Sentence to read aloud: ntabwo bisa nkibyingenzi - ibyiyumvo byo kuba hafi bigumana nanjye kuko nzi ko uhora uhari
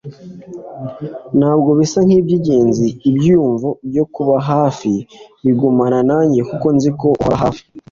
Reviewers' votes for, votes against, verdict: 1, 2, rejected